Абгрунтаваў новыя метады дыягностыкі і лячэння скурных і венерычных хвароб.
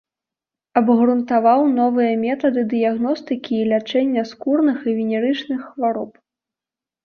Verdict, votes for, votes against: accepted, 2, 0